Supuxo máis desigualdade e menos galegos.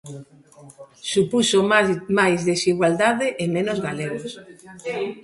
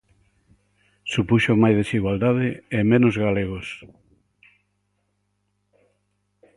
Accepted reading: second